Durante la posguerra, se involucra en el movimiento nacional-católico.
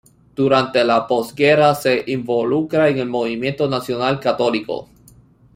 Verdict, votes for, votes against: accepted, 2, 0